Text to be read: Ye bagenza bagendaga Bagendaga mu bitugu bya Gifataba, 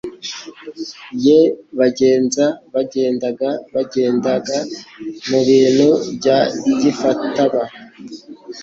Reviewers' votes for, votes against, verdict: 0, 3, rejected